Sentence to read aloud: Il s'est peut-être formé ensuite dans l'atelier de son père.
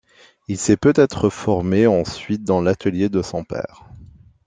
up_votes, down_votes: 2, 0